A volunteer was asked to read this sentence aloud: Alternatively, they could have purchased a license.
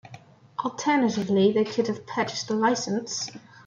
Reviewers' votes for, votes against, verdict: 0, 2, rejected